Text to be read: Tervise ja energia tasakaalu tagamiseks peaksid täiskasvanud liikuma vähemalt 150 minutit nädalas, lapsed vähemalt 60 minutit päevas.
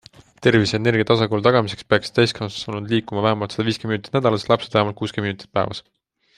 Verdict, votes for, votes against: rejected, 0, 2